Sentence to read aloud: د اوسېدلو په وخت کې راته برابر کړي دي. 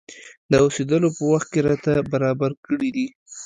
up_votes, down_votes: 2, 0